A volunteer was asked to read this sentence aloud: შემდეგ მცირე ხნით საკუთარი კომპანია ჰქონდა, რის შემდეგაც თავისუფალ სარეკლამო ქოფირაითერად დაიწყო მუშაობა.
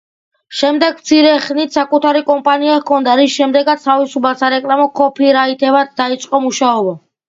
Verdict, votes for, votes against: accepted, 2, 0